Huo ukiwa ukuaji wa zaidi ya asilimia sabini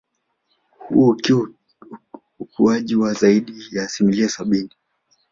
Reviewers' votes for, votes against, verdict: 2, 0, accepted